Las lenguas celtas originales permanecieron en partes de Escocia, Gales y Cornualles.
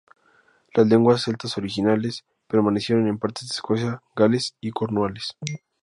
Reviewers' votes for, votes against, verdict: 0, 2, rejected